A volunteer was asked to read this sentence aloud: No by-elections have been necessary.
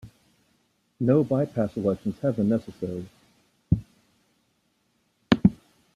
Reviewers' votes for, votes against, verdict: 1, 2, rejected